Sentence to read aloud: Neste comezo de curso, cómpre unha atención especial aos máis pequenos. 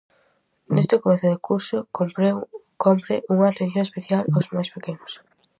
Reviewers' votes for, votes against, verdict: 0, 4, rejected